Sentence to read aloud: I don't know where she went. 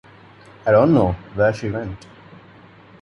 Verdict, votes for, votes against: rejected, 1, 2